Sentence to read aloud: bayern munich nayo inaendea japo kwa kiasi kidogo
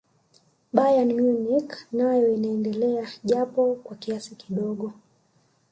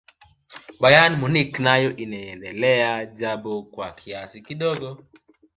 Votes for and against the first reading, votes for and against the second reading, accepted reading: 1, 2, 2, 0, second